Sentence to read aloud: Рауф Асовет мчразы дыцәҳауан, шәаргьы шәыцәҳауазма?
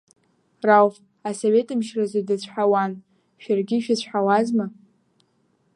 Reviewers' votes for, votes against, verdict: 2, 0, accepted